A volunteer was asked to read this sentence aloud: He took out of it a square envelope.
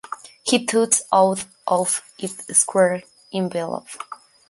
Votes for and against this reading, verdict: 0, 2, rejected